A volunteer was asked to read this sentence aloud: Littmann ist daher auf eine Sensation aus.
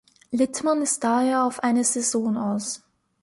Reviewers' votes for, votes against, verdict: 0, 2, rejected